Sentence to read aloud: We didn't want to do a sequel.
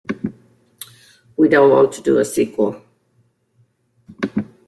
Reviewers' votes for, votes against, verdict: 1, 2, rejected